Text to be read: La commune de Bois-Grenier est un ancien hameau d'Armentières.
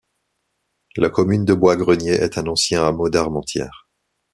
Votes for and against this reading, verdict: 2, 0, accepted